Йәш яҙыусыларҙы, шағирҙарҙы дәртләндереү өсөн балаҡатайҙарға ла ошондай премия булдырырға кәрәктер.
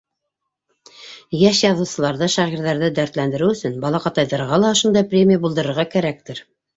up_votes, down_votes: 2, 1